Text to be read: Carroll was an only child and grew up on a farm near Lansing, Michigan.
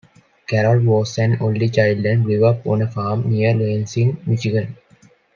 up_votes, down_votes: 2, 0